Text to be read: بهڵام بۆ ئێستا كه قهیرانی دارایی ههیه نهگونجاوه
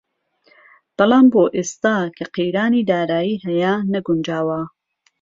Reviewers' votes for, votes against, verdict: 2, 0, accepted